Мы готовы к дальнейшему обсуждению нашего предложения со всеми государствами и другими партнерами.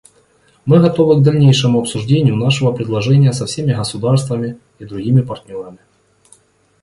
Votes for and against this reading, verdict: 2, 0, accepted